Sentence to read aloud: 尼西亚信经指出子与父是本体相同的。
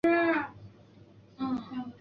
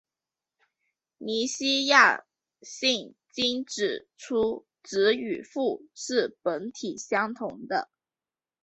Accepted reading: second